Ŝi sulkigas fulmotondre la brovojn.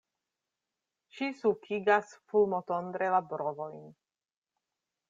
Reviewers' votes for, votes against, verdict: 1, 2, rejected